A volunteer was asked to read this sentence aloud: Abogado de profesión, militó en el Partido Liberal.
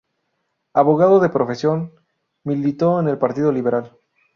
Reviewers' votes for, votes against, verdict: 2, 2, rejected